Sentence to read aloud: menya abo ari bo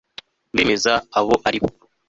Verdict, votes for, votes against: rejected, 1, 2